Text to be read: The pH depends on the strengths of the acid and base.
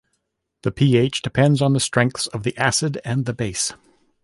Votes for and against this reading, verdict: 0, 2, rejected